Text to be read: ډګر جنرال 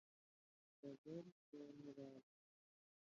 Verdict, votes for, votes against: rejected, 1, 2